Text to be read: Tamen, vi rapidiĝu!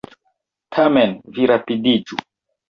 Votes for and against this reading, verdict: 2, 0, accepted